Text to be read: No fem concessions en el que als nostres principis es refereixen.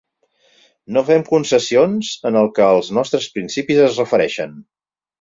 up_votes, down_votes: 6, 0